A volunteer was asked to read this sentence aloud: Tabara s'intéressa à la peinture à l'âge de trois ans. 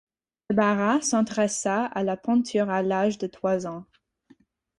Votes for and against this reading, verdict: 0, 4, rejected